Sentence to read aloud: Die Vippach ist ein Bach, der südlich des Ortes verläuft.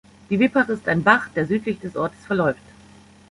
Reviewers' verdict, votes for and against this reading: accepted, 2, 0